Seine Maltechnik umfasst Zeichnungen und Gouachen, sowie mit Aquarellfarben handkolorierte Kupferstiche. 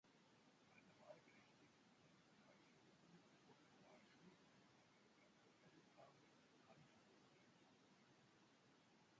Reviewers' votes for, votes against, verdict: 0, 2, rejected